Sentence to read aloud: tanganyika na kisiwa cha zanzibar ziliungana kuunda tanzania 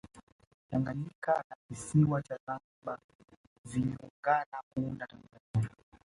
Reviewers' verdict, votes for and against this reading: accepted, 2, 1